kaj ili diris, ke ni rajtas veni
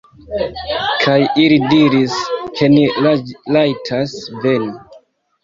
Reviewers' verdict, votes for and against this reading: rejected, 0, 2